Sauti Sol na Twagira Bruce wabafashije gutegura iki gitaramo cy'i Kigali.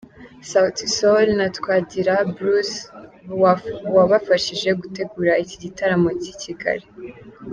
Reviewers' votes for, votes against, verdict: 2, 0, accepted